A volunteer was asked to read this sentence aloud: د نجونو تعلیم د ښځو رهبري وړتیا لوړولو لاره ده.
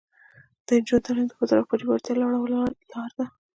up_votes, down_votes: 1, 2